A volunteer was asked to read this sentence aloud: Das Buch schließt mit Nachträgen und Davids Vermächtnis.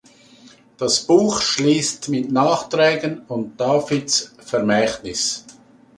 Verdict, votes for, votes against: accepted, 2, 0